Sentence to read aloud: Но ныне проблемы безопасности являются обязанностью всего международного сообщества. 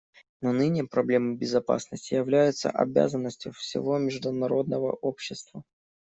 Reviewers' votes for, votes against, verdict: 0, 2, rejected